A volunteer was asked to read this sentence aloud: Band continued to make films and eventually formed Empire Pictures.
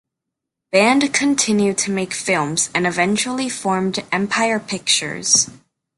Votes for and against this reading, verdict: 1, 2, rejected